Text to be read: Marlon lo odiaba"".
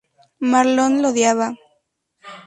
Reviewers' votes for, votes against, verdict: 2, 0, accepted